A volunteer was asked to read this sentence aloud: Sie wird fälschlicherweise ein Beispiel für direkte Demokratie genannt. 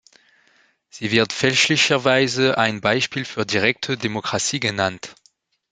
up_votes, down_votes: 2, 0